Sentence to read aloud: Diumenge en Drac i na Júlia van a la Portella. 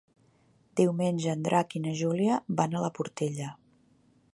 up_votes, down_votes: 3, 0